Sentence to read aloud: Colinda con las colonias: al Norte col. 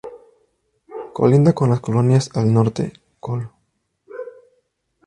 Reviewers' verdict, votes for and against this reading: rejected, 0, 2